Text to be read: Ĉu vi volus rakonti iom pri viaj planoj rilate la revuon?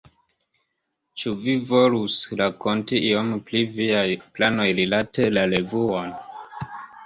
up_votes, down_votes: 2, 0